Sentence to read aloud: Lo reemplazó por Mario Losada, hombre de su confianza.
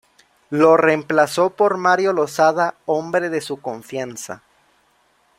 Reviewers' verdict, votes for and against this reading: accepted, 2, 0